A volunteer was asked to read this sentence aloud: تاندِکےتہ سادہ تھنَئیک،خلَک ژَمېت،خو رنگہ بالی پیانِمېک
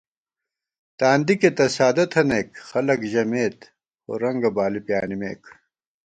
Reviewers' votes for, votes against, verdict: 2, 0, accepted